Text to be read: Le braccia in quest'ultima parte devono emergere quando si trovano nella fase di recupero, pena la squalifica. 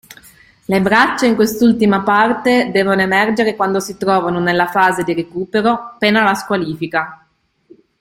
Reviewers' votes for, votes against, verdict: 2, 0, accepted